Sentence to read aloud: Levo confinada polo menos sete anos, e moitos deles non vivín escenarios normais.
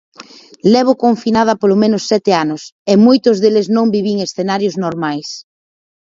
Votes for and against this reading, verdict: 4, 0, accepted